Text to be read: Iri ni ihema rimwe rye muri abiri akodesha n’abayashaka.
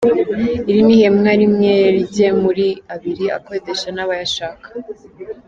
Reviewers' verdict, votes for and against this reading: accepted, 2, 1